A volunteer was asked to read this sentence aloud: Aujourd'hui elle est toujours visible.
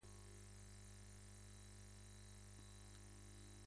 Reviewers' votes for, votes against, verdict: 0, 2, rejected